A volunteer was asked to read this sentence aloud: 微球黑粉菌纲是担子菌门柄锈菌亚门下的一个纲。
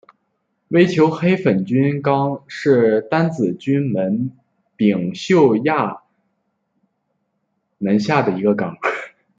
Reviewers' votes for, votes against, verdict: 0, 2, rejected